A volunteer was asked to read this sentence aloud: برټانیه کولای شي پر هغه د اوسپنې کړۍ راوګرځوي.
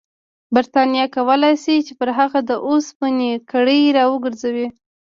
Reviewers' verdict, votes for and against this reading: accepted, 2, 0